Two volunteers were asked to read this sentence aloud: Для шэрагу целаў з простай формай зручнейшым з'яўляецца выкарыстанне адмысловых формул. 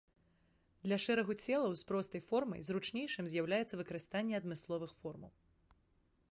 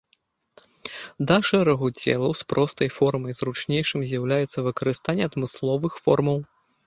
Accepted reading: first